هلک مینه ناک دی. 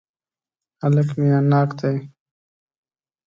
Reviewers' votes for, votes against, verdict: 1, 2, rejected